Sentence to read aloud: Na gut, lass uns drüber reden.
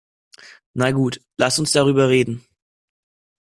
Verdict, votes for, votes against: rejected, 1, 2